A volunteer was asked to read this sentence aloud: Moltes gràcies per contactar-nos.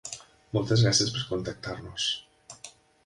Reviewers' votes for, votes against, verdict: 1, 2, rejected